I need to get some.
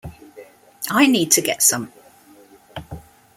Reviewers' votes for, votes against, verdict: 2, 0, accepted